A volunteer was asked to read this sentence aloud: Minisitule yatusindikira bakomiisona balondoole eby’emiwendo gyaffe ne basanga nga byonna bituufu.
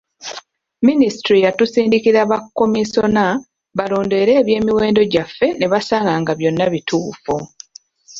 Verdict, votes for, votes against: rejected, 1, 2